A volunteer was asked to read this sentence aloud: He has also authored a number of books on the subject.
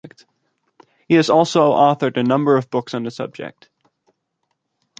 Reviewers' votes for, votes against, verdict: 2, 0, accepted